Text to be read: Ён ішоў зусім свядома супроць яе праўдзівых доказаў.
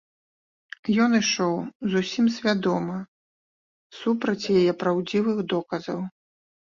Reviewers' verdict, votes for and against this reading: rejected, 1, 2